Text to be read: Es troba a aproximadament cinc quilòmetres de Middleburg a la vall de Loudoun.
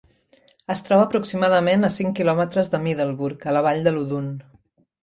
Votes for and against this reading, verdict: 1, 2, rejected